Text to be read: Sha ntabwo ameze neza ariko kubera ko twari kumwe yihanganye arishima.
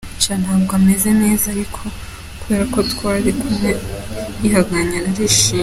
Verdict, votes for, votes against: accepted, 2, 0